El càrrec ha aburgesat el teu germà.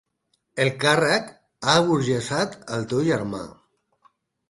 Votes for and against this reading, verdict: 6, 0, accepted